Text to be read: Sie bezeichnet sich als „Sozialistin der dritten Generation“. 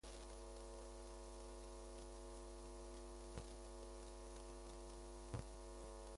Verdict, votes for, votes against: rejected, 0, 2